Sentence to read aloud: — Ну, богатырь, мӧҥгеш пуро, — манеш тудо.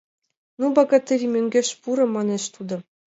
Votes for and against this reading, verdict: 2, 0, accepted